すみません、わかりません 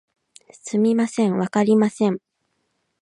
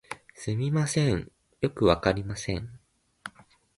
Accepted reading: first